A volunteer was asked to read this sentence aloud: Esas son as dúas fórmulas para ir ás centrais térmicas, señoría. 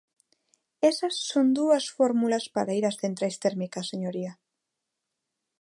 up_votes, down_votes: 0, 2